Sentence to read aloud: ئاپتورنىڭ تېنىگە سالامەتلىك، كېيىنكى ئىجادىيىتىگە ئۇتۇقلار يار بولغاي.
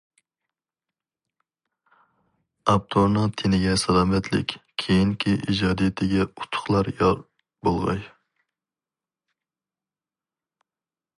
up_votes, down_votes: 2, 0